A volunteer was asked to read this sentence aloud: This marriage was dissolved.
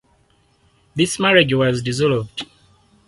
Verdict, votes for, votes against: accepted, 4, 0